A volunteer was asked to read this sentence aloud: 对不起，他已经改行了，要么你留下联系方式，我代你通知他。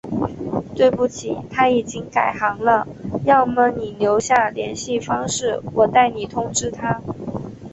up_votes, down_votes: 5, 0